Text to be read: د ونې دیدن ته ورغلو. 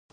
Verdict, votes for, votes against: rejected, 1, 2